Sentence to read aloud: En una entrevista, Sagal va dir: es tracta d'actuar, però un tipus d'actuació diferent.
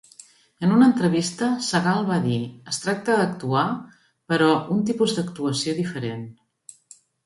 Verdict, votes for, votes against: accepted, 2, 0